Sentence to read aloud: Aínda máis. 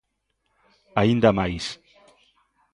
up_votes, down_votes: 2, 0